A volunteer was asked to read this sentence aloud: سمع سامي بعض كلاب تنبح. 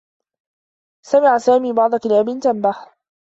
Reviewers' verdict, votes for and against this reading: accepted, 2, 0